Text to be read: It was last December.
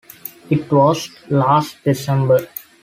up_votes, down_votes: 2, 0